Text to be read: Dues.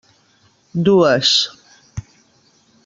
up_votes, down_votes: 3, 0